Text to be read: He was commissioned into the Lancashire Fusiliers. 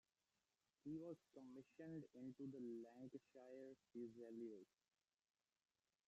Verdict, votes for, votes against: rejected, 0, 2